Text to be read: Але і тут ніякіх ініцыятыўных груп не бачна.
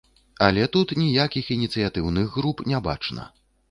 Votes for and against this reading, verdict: 1, 2, rejected